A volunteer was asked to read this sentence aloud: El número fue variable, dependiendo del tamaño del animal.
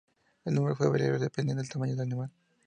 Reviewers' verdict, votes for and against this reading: accepted, 2, 0